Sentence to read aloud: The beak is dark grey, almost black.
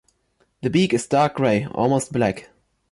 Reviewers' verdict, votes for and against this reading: accepted, 2, 1